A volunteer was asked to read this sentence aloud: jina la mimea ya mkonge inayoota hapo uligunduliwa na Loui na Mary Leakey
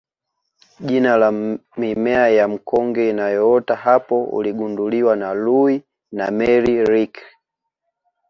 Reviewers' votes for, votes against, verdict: 1, 2, rejected